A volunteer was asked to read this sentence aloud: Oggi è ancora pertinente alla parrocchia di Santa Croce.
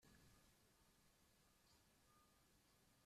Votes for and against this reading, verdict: 0, 3, rejected